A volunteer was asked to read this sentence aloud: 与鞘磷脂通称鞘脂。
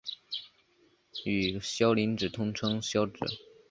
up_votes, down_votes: 5, 0